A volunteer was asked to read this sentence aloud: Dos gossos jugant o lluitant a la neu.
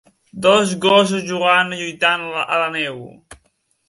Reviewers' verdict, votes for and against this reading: rejected, 1, 3